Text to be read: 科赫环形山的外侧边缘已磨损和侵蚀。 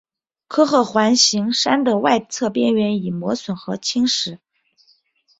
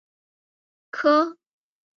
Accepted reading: first